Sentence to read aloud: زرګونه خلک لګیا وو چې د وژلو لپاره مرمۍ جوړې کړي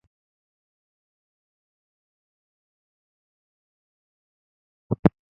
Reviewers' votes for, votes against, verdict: 0, 2, rejected